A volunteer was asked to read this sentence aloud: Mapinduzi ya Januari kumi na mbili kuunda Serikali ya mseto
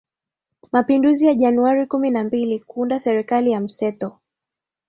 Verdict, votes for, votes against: accepted, 8, 4